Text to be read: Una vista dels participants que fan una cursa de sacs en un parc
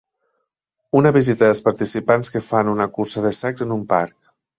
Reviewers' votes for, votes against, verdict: 0, 2, rejected